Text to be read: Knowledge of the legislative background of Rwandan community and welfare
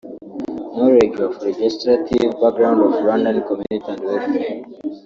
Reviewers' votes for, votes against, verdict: 0, 2, rejected